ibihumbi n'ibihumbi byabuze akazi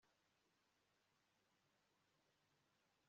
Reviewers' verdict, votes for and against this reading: rejected, 1, 2